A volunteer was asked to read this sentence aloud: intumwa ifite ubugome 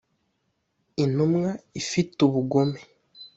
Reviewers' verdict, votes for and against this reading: accepted, 2, 0